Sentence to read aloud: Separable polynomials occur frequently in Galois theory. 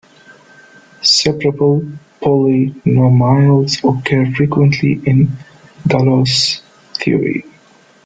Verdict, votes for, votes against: rejected, 1, 2